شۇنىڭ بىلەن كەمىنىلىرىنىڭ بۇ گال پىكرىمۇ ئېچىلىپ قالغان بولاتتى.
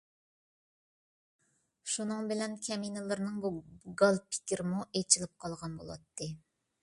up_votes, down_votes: 3, 0